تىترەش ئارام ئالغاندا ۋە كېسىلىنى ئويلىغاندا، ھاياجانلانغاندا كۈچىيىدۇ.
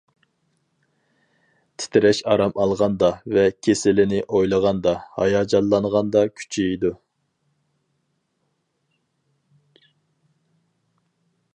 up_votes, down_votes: 4, 0